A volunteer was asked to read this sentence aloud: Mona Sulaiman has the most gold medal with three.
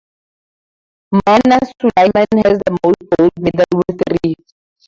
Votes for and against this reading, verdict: 0, 4, rejected